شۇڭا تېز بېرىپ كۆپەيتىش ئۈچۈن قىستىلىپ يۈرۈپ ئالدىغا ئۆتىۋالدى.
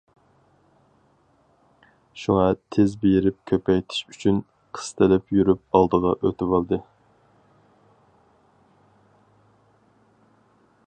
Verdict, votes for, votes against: accepted, 4, 0